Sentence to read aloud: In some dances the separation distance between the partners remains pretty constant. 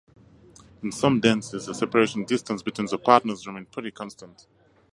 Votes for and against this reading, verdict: 4, 2, accepted